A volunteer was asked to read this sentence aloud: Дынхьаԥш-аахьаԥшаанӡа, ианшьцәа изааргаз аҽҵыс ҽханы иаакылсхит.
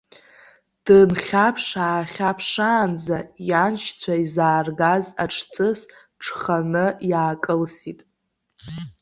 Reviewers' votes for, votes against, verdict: 0, 2, rejected